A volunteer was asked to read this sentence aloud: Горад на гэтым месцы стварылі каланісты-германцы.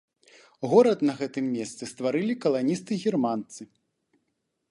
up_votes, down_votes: 2, 0